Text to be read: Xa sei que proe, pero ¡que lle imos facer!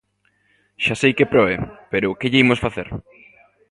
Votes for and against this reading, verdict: 2, 0, accepted